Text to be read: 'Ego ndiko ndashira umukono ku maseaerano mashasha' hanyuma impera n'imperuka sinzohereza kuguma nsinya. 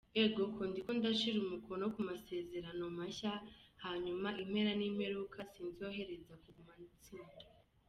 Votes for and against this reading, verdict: 0, 2, rejected